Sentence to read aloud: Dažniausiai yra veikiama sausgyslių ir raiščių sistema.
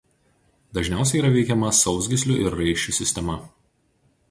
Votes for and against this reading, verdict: 2, 0, accepted